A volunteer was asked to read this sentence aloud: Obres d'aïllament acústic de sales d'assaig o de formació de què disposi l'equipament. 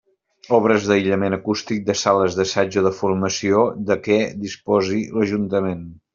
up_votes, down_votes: 1, 2